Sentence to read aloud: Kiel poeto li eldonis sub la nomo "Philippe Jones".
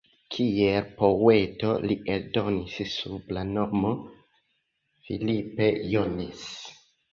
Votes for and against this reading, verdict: 2, 1, accepted